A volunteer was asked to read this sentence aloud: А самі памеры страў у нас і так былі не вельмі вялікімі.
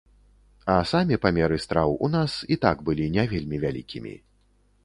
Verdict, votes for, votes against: accepted, 2, 0